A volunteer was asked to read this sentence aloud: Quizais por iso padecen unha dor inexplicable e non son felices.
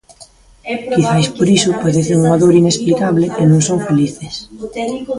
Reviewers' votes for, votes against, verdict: 0, 2, rejected